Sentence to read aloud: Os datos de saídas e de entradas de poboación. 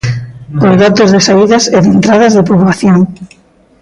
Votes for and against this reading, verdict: 0, 2, rejected